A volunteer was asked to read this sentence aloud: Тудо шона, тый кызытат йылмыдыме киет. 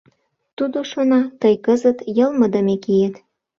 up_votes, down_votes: 0, 2